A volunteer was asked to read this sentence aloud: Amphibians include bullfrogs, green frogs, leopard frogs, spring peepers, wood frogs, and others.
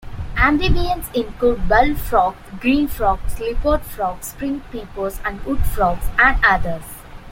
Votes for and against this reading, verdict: 0, 2, rejected